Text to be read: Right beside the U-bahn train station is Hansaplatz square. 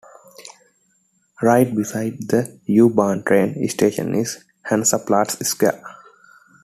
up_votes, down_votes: 2, 0